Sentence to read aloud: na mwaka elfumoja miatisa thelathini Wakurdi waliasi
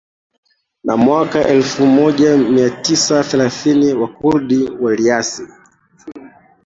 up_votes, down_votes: 0, 2